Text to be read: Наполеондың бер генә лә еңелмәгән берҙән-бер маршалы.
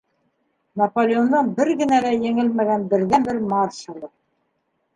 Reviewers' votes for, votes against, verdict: 2, 1, accepted